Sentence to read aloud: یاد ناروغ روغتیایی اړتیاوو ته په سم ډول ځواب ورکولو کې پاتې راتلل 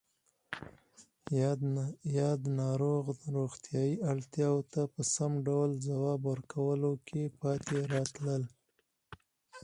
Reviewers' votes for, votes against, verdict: 4, 0, accepted